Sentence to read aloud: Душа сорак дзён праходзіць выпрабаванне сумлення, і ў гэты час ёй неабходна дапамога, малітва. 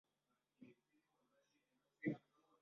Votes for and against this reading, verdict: 0, 2, rejected